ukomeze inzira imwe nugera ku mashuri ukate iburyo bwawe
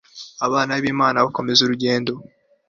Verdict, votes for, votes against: rejected, 1, 2